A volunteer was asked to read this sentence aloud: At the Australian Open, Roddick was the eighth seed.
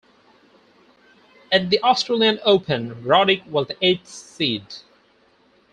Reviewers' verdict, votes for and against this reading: rejected, 2, 4